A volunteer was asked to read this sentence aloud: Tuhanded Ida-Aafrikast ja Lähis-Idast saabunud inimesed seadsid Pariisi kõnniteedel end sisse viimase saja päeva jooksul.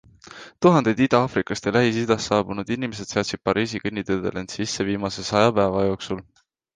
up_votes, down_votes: 2, 0